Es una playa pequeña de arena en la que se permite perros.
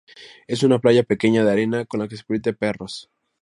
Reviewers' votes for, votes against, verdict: 0, 4, rejected